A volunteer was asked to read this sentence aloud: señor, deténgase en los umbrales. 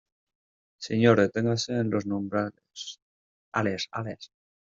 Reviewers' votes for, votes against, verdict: 0, 2, rejected